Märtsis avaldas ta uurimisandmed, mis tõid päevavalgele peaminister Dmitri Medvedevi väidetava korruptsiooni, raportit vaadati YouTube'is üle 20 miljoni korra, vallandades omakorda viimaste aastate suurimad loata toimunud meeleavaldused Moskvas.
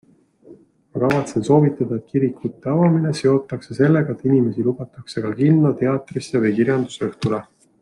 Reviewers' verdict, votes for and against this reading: rejected, 0, 2